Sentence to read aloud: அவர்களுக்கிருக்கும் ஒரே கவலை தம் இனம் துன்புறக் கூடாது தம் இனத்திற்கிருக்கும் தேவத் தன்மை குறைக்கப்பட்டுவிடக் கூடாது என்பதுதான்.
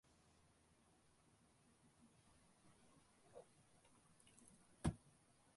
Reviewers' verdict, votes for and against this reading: rejected, 0, 2